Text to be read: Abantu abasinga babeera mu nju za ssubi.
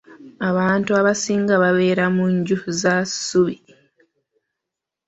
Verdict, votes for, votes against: accepted, 2, 0